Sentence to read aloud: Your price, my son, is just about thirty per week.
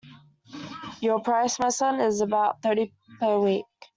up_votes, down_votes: 0, 2